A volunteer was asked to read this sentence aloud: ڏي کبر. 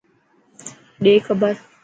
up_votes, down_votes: 4, 0